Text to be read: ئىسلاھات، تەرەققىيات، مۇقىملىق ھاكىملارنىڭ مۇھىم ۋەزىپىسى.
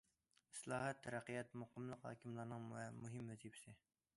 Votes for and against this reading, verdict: 0, 2, rejected